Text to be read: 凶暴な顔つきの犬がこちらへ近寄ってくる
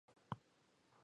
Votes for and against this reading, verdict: 1, 2, rejected